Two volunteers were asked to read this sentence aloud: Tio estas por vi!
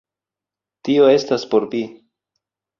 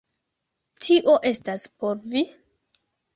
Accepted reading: first